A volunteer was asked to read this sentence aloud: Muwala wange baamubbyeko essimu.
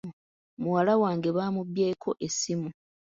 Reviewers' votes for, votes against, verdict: 2, 0, accepted